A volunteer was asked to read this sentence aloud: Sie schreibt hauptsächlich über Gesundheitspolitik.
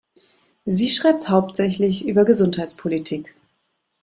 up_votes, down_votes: 2, 0